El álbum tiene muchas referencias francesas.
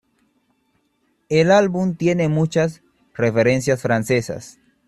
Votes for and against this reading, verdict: 2, 0, accepted